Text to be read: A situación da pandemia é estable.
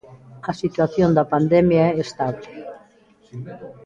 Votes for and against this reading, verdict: 0, 2, rejected